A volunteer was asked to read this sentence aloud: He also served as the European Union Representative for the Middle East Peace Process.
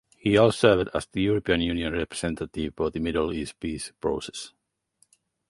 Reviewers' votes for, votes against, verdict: 0, 4, rejected